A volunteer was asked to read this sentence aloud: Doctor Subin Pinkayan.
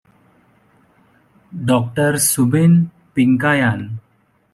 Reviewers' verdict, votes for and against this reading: accepted, 2, 0